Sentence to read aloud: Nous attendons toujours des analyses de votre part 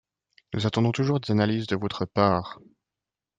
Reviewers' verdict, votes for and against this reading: rejected, 0, 2